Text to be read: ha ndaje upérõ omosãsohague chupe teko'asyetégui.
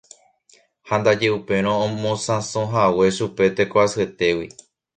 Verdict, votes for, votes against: rejected, 1, 2